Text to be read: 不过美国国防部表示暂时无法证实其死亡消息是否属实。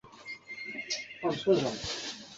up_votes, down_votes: 0, 3